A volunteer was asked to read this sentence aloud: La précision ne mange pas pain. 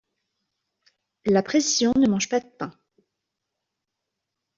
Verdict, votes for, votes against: rejected, 0, 2